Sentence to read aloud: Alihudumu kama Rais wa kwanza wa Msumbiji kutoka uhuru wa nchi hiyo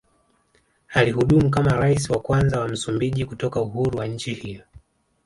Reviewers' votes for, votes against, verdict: 1, 2, rejected